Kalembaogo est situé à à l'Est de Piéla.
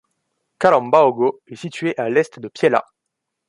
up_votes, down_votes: 0, 2